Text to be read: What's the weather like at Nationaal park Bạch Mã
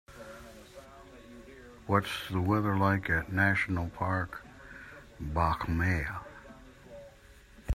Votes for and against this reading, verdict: 1, 2, rejected